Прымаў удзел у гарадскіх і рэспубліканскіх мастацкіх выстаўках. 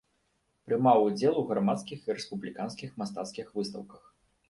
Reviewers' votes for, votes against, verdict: 0, 2, rejected